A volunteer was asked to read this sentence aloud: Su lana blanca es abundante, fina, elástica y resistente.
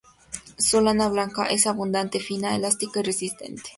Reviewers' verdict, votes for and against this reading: accepted, 2, 0